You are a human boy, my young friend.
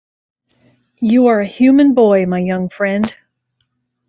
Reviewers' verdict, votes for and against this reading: accepted, 2, 0